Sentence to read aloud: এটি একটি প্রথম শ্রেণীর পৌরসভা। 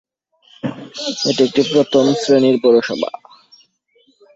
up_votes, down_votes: 0, 2